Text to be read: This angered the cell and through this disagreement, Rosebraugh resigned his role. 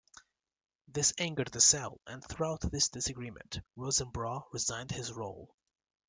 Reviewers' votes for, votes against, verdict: 0, 2, rejected